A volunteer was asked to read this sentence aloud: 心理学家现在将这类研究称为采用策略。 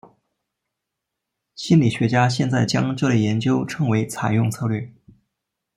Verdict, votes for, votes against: rejected, 1, 2